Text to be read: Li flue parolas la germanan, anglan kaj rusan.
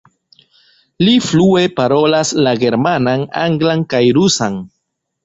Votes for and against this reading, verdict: 2, 0, accepted